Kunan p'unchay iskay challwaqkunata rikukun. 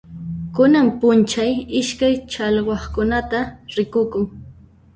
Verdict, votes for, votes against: accepted, 3, 1